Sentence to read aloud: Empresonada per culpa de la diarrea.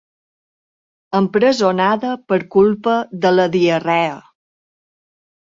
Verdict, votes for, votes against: accepted, 2, 0